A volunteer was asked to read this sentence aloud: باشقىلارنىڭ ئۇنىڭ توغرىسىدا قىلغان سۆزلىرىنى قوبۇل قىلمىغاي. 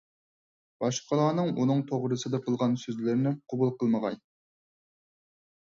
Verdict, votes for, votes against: accepted, 4, 0